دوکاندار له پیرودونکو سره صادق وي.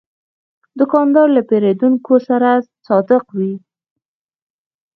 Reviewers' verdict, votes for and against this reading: accepted, 2, 0